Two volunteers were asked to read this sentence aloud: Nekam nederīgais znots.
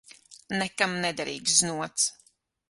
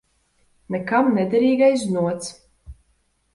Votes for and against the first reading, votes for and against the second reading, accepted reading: 0, 6, 2, 0, second